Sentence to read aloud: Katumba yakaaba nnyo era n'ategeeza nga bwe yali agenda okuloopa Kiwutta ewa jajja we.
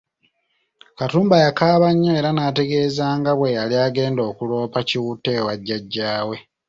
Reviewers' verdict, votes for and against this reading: accepted, 2, 0